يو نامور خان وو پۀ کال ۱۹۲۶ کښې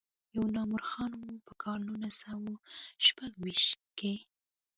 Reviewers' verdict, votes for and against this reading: rejected, 0, 2